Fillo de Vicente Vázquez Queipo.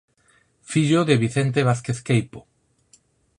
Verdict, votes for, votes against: accepted, 4, 0